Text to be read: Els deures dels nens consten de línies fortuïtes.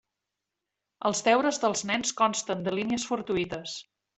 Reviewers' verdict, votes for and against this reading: accepted, 2, 0